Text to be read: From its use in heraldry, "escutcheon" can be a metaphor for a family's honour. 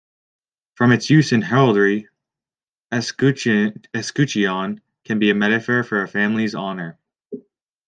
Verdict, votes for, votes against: rejected, 1, 2